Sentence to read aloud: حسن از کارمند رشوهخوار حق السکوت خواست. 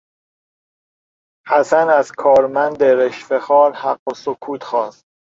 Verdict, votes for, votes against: accepted, 3, 0